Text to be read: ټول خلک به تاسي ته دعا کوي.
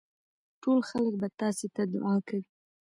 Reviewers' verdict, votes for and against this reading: rejected, 1, 2